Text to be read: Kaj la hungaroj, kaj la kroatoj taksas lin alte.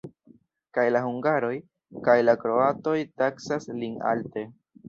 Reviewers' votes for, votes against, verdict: 1, 2, rejected